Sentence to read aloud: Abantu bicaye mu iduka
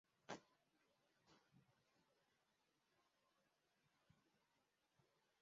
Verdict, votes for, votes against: rejected, 0, 2